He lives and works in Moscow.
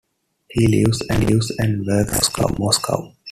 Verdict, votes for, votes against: rejected, 1, 2